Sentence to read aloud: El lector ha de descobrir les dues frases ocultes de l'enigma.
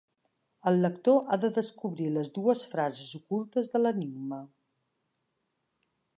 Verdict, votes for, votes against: accepted, 2, 0